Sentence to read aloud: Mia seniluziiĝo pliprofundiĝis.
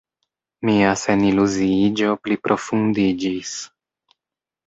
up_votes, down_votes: 2, 0